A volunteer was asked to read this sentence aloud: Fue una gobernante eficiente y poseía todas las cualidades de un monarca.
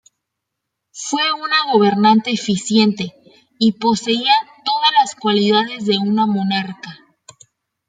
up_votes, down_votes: 1, 2